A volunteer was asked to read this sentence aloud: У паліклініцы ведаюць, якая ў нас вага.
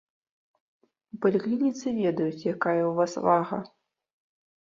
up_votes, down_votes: 1, 2